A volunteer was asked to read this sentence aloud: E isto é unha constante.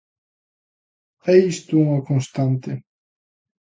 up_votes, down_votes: 2, 1